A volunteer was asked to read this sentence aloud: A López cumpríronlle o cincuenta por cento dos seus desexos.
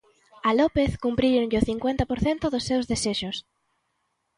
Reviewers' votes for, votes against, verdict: 2, 0, accepted